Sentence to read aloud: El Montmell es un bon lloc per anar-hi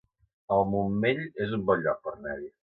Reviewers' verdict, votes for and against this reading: rejected, 2, 3